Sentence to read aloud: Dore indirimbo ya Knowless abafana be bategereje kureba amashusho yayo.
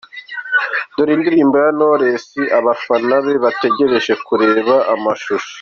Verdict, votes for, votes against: rejected, 1, 2